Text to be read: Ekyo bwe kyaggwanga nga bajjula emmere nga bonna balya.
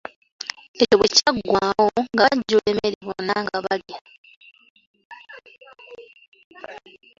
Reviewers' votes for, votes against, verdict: 0, 2, rejected